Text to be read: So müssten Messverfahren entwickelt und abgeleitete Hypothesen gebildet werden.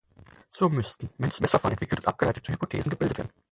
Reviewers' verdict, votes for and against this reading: rejected, 0, 4